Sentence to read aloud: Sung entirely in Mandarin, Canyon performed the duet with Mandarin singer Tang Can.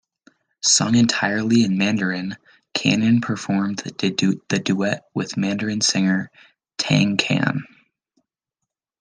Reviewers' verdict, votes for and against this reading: rejected, 1, 2